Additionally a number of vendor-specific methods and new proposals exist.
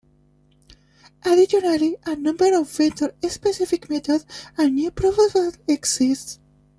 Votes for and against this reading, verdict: 0, 2, rejected